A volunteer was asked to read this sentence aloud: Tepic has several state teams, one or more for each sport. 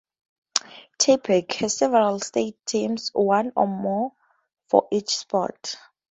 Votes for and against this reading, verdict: 4, 0, accepted